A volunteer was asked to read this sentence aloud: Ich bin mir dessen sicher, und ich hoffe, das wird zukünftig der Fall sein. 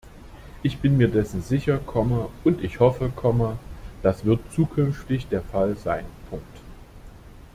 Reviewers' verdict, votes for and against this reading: rejected, 0, 2